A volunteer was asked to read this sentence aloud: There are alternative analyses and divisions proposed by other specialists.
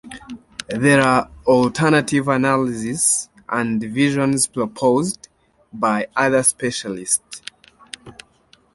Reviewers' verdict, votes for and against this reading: rejected, 0, 2